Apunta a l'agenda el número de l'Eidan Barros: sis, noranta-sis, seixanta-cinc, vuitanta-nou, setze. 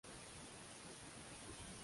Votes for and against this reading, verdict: 0, 2, rejected